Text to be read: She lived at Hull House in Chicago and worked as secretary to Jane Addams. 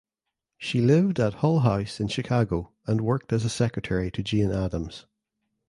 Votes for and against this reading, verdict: 0, 2, rejected